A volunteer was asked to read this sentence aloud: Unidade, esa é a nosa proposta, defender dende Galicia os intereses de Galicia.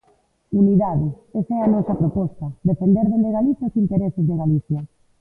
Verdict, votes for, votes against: accepted, 2, 1